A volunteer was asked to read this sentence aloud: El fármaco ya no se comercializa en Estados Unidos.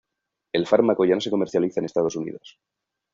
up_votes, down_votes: 2, 1